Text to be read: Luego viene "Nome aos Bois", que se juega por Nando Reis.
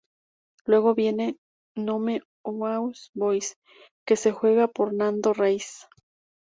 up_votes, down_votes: 2, 0